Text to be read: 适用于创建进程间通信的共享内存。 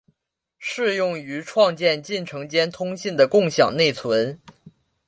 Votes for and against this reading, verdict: 2, 0, accepted